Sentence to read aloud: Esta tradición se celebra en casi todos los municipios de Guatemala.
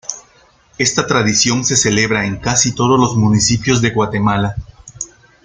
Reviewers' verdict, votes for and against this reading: accepted, 2, 0